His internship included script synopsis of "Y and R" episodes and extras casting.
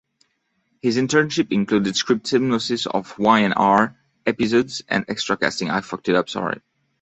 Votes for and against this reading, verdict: 1, 2, rejected